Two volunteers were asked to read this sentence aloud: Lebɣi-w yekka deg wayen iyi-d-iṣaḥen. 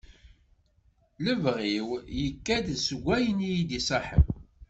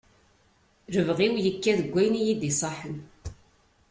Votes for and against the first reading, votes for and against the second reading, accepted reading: 0, 2, 2, 0, second